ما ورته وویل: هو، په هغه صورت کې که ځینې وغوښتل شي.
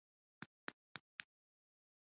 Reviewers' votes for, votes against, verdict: 1, 2, rejected